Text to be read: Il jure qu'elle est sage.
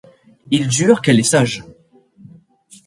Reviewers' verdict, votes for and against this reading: accepted, 3, 0